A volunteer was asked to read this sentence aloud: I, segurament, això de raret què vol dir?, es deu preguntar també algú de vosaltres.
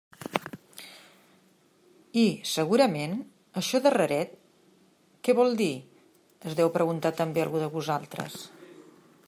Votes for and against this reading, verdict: 2, 0, accepted